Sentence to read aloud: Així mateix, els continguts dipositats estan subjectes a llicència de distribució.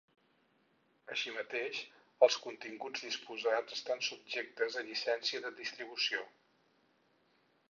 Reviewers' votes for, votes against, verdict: 2, 4, rejected